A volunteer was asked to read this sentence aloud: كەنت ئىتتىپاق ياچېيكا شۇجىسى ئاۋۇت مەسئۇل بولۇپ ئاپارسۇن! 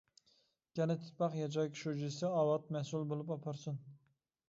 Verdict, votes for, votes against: rejected, 0, 2